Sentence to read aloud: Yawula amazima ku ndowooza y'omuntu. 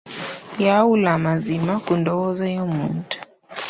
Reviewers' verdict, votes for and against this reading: accepted, 2, 1